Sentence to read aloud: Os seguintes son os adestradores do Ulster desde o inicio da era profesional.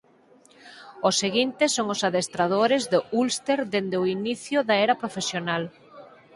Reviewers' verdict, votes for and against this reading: rejected, 2, 4